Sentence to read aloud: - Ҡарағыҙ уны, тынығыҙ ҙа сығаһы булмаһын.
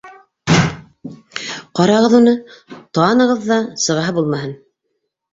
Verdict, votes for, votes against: rejected, 0, 2